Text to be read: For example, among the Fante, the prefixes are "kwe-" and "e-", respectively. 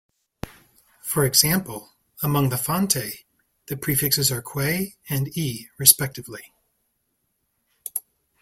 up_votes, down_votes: 2, 0